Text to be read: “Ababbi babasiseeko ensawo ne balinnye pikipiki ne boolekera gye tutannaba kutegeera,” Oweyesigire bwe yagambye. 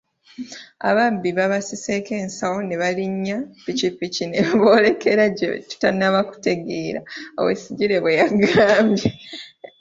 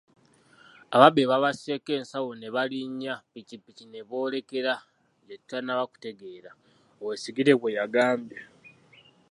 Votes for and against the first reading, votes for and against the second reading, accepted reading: 0, 2, 2, 0, second